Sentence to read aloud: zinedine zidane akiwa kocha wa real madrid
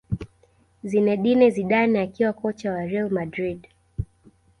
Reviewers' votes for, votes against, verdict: 2, 0, accepted